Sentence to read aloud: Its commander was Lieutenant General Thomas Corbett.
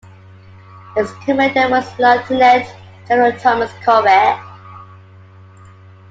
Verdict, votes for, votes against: accepted, 2, 1